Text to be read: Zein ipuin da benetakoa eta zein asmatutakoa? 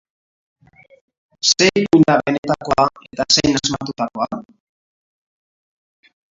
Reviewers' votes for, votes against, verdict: 0, 3, rejected